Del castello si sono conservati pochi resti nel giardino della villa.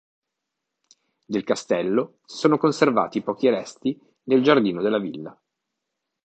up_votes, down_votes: 0, 2